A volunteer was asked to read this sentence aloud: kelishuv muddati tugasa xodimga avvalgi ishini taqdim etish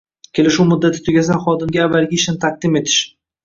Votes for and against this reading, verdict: 1, 2, rejected